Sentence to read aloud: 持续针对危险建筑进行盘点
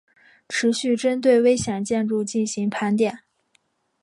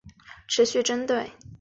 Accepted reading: first